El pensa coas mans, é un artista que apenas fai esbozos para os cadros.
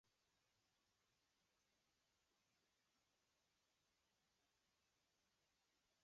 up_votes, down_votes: 0, 3